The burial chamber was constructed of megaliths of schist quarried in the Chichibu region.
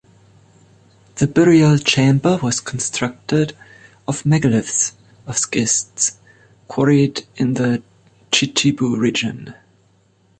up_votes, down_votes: 1, 2